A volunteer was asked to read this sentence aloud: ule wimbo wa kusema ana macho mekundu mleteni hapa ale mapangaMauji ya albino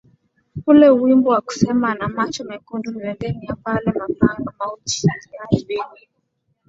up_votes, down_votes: 11, 0